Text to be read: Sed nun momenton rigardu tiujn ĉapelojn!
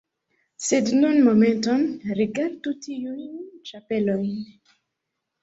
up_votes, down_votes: 1, 2